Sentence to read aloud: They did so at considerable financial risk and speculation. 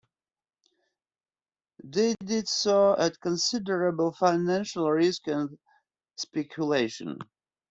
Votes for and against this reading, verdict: 1, 2, rejected